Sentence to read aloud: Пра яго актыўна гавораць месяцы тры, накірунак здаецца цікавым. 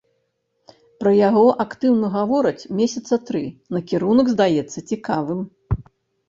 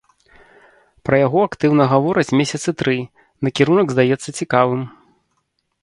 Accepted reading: second